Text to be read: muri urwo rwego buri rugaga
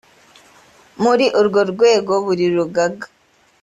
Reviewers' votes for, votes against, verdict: 2, 0, accepted